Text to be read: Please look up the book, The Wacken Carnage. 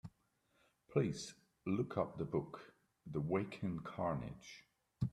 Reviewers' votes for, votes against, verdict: 2, 0, accepted